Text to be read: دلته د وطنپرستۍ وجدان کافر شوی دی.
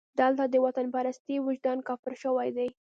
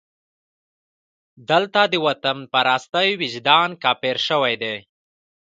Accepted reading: second